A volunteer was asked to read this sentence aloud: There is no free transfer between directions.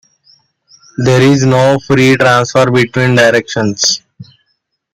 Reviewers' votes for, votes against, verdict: 2, 0, accepted